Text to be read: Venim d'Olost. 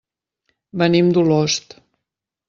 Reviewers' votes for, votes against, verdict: 3, 0, accepted